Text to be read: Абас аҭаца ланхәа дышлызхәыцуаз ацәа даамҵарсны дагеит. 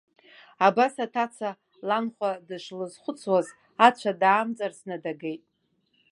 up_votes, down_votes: 2, 1